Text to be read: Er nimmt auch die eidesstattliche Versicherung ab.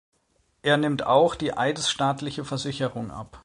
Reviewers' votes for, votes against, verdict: 1, 2, rejected